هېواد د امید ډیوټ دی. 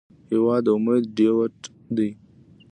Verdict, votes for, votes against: rejected, 1, 2